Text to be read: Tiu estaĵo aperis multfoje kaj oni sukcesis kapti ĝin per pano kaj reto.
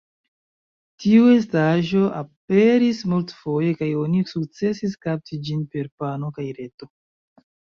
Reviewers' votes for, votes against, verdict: 0, 2, rejected